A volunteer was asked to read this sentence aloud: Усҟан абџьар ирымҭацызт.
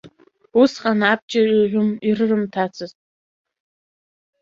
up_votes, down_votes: 0, 2